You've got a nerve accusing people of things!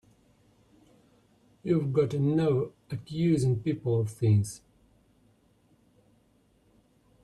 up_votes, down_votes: 1, 2